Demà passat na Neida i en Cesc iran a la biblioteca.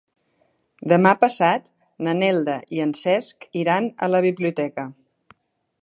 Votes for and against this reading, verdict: 0, 2, rejected